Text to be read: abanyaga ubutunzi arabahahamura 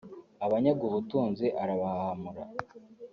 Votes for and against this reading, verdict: 2, 0, accepted